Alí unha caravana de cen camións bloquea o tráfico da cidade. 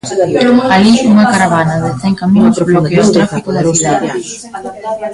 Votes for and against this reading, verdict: 1, 2, rejected